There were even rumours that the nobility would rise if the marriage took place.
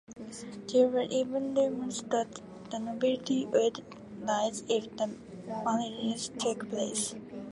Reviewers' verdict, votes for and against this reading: rejected, 1, 2